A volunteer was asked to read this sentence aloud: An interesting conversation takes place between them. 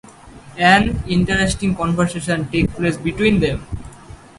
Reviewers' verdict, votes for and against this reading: accepted, 4, 0